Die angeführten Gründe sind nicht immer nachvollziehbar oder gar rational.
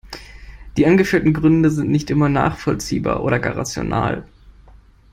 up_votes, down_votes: 2, 0